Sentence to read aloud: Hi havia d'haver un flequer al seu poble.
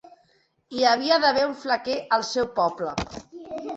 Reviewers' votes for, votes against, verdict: 2, 0, accepted